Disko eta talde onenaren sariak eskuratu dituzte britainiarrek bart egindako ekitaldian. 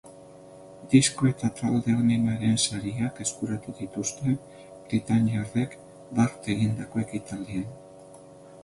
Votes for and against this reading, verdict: 0, 2, rejected